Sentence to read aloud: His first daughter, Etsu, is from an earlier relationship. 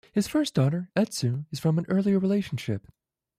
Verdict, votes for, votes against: rejected, 0, 2